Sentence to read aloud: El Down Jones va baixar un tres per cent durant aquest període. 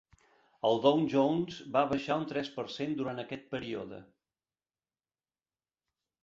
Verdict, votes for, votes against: accepted, 2, 0